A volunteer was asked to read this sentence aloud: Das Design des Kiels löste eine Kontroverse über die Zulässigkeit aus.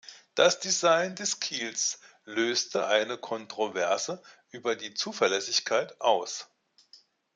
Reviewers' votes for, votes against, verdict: 1, 2, rejected